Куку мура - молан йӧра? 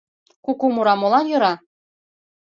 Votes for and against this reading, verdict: 2, 0, accepted